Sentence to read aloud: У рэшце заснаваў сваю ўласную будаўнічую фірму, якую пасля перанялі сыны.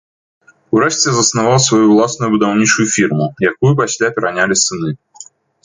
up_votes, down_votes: 1, 2